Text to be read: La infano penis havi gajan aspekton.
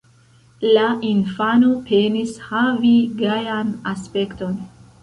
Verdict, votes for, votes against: rejected, 1, 2